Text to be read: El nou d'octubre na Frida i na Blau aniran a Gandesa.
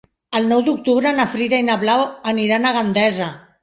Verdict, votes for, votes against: accepted, 3, 0